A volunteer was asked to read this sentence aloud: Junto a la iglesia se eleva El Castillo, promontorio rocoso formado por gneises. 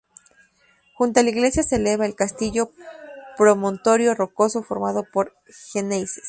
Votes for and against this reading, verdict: 0, 2, rejected